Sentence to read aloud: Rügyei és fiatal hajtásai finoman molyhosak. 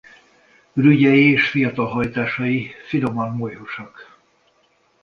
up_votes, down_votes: 0, 2